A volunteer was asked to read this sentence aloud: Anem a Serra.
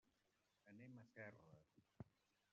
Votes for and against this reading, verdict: 0, 2, rejected